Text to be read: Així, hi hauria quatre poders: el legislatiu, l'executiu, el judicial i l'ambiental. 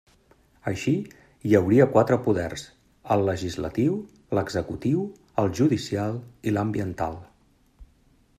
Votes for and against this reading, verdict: 3, 0, accepted